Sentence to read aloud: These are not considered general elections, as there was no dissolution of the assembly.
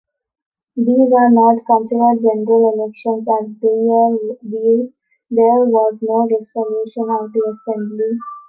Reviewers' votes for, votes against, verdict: 0, 2, rejected